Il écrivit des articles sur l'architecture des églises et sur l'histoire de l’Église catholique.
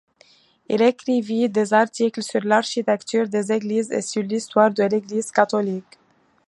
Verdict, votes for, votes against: accepted, 2, 0